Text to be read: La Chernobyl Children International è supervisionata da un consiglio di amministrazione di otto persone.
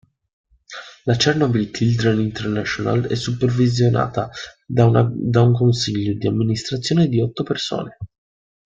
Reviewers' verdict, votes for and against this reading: rejected, 0, 2